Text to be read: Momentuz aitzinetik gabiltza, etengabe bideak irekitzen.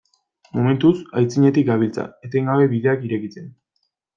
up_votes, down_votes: 2, 0